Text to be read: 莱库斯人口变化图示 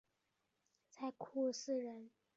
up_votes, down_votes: 0, 2